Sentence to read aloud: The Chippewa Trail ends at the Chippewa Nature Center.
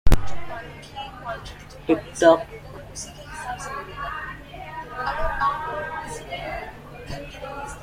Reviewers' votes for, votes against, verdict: 0, 2, rejected